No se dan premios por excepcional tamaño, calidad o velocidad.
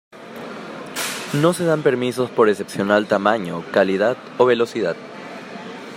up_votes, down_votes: 0, 2